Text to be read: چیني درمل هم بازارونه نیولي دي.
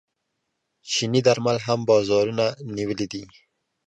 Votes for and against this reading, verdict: 2, 0, accepted